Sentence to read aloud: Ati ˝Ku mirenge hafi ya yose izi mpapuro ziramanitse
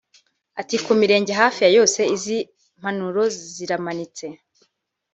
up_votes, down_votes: 0, 2